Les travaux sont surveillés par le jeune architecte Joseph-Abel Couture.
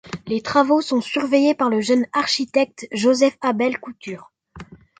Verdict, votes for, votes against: accepted, 2, 0